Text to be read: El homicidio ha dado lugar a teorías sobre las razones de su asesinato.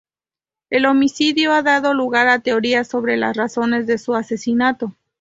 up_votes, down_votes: 2, 0